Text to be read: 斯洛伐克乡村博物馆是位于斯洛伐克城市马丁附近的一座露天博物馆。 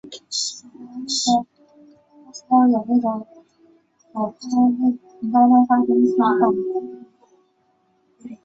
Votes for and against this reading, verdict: 1, 5, rejected